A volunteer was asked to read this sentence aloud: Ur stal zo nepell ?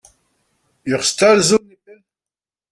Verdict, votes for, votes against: rejected, 0, 2